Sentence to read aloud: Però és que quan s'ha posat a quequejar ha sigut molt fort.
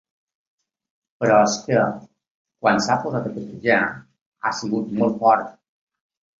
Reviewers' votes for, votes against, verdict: 2, 0, accepted